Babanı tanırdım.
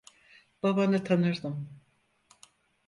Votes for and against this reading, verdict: 4, 0, accepted